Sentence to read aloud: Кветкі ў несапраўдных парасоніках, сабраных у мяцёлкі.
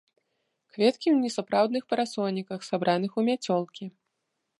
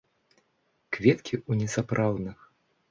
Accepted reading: first